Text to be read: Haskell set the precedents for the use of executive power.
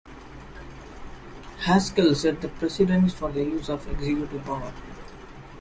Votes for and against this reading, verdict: 2, 0, accepted